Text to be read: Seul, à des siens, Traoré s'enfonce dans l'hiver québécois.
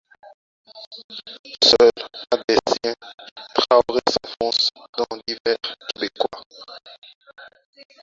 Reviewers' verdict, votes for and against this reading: rejected, 0, 4